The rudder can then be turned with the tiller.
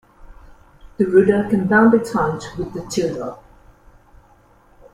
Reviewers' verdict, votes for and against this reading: rejected, 1, 2